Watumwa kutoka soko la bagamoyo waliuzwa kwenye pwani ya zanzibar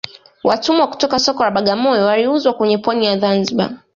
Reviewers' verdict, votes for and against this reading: rejected, 1, 2